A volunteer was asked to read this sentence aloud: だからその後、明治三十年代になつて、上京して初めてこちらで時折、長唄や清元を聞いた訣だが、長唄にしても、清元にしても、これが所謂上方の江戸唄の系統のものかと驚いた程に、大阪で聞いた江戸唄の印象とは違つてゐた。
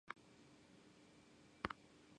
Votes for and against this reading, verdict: 0, 10, rejected